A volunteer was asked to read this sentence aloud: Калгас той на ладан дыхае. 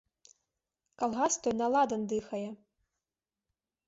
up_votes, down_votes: 2, 0